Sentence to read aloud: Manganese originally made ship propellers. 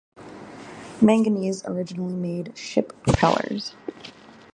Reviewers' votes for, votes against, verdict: 0, 2, rejected